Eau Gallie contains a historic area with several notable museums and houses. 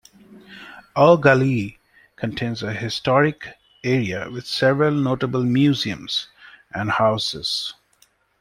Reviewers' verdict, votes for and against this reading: accepted, 2, 0